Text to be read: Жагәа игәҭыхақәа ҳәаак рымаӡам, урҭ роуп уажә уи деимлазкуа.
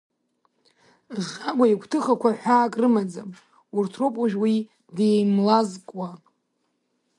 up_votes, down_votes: 2, 0